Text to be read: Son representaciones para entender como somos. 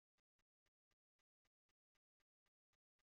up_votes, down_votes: 1, 2